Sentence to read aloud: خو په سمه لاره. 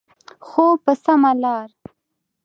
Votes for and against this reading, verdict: 2, 0, accepted